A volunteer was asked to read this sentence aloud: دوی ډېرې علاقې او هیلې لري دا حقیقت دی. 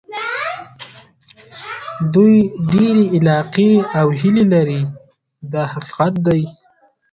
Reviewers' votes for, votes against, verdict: 0, 2, rejected